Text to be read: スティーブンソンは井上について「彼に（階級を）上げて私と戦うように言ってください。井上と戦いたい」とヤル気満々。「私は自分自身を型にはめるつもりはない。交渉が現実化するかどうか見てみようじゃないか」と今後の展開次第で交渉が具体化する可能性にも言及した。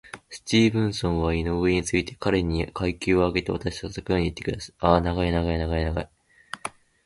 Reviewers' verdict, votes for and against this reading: rejected, 0, 3